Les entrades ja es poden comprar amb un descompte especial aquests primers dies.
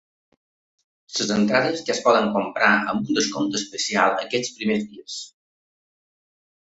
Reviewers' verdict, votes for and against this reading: accepted, 2, 1